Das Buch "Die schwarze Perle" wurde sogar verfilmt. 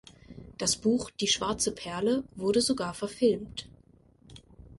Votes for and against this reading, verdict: 2, 0, accepted